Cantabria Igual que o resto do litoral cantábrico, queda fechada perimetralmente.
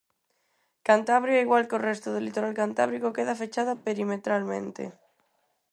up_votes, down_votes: 4, 0